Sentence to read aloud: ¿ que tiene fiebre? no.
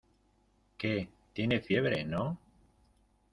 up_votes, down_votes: 1, 2